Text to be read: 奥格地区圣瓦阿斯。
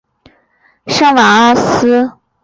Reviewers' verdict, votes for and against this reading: rejected, 1, 2